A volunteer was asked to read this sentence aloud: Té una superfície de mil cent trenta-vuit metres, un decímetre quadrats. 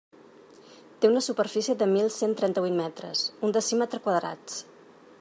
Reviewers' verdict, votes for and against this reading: accepted, 3, 0